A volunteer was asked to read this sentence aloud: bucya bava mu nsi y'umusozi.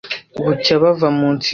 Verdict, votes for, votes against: rejected, 1, 2